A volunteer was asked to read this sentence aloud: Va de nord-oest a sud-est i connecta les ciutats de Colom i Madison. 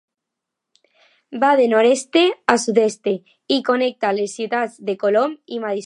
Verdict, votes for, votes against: rejected, 0, 2